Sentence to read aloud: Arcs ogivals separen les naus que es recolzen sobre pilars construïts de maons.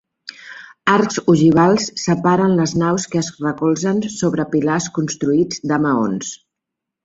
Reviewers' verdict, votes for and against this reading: accepted, 2, 0